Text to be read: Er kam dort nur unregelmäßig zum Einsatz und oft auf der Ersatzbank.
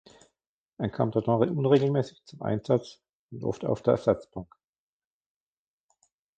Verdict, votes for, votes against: rejected, 1, 2